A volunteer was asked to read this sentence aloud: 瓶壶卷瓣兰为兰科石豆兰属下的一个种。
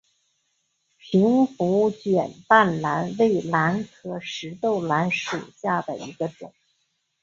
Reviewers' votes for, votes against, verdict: 2, 0, accepted